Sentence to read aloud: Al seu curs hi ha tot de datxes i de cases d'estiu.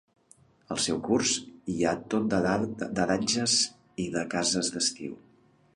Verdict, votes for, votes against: rejected, 0, 2